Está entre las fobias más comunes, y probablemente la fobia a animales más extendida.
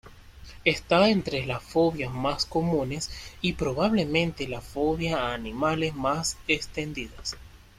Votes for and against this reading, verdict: 2, 0, accepted